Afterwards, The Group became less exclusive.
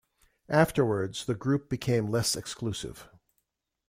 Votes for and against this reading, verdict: 2, 0, accepted